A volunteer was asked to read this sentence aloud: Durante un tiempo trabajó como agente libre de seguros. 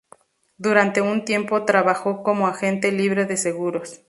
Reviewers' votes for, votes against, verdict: 2, 0, accepted